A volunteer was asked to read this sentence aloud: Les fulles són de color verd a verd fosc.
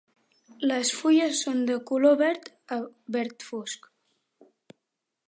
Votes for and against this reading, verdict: 4, 0, accepted